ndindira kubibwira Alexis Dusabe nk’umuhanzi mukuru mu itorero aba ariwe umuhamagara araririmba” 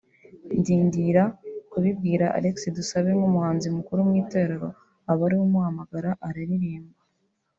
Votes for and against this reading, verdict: 0, 2, rejected